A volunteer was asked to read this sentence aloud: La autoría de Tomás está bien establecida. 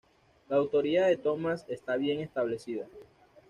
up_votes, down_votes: 2, 0